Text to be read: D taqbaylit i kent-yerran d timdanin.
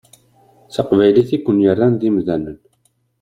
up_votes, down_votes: 1, 2